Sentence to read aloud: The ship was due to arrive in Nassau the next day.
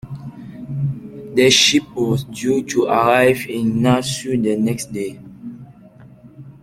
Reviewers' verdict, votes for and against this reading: accepted, 2, 1